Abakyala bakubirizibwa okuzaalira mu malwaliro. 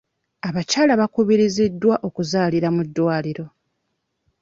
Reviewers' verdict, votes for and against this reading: rejected, 0, 2